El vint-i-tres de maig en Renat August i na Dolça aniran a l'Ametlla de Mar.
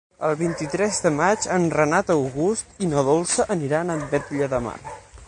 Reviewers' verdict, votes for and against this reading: rejected, 0, 6